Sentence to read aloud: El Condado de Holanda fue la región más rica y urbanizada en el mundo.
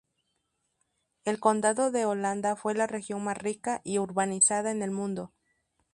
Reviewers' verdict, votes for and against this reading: accepted, 2, 0